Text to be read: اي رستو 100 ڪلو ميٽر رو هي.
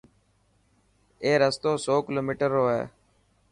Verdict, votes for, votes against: rejected, 0, 2